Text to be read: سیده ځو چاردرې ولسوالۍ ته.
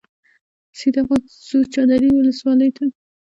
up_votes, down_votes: 2, 0